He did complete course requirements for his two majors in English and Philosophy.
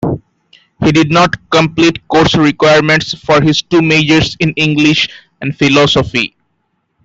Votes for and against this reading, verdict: 0, 2, rejected